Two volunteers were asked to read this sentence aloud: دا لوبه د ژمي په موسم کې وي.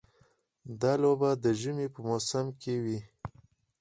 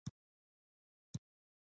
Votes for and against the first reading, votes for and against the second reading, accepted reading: 4, 0, 0, 2, first